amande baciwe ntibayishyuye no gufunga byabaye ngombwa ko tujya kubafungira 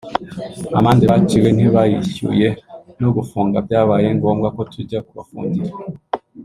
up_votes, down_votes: 0, 2